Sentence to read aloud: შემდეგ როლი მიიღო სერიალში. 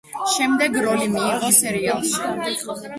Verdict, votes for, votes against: rejected, 1, 2